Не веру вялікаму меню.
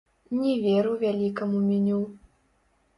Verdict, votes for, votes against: rejected, 1, 2